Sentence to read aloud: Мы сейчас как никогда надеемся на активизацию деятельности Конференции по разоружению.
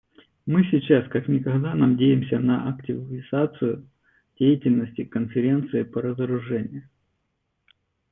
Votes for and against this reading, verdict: 2, 0, accepted